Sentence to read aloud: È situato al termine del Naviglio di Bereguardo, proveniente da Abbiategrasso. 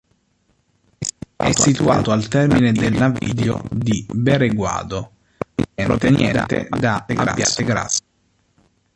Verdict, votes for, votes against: rejected, 1, 2